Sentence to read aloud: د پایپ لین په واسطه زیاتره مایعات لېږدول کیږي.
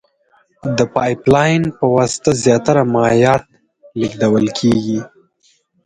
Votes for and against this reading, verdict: 4, 2, accepted